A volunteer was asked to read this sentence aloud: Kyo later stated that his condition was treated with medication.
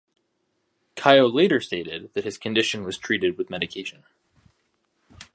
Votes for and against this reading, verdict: 2, 0, accepted